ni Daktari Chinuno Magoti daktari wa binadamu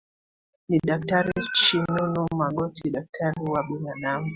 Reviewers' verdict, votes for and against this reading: rejected, 1, 2